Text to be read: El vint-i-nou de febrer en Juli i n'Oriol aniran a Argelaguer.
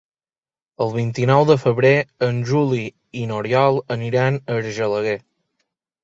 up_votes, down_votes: 4, 0